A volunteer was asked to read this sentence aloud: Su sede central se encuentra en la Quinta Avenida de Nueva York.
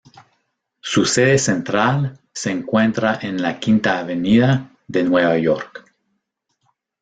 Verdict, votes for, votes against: accepted, 2, 0